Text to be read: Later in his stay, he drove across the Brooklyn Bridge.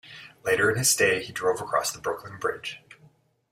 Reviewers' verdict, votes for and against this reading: accepted, 2, 0